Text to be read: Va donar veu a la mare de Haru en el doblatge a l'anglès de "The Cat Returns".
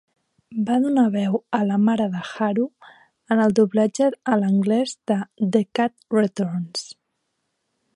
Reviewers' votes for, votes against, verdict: 3, 1, accepted